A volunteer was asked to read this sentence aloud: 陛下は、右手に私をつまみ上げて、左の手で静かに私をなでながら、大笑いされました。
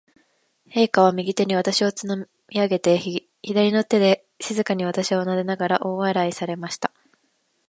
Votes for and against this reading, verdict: 2, 0, accepted